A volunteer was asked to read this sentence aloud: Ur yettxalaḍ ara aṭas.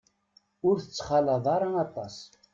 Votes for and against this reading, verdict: 0, 2, rejected